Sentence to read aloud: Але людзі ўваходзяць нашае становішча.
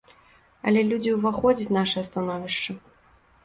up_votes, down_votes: 2, 0